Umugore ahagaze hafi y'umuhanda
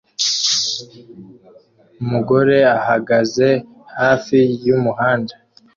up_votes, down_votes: 2, 0